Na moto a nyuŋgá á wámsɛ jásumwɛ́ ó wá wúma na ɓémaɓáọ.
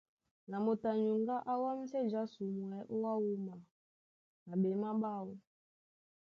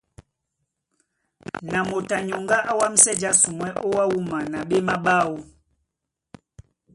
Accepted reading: first